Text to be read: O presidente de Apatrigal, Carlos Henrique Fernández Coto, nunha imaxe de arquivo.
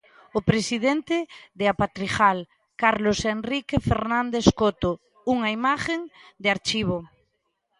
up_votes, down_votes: 0, 2